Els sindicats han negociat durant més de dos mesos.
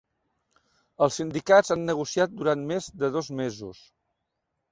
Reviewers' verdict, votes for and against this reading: accepted, 3, 0